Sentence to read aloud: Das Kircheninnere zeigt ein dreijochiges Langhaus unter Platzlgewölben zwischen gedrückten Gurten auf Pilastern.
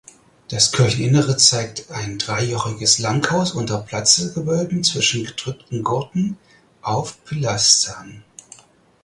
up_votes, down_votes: 4, 0